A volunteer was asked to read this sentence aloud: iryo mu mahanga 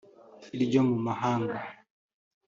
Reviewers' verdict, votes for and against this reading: accepted, 2, 0